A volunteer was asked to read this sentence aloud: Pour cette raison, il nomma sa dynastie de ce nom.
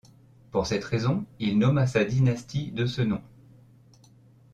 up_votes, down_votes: 2, 0